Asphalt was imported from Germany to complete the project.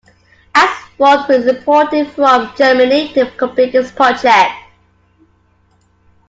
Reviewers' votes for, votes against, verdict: 2, 1, accepted